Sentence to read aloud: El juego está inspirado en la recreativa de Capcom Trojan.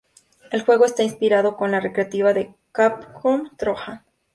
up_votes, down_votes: 2, 0